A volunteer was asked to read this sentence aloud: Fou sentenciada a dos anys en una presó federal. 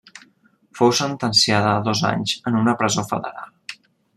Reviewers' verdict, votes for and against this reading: rejected, 1, 2